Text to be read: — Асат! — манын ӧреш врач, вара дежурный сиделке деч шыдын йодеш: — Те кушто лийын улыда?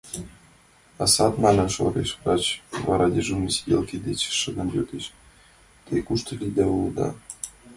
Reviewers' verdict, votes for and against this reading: rejected, 1, 2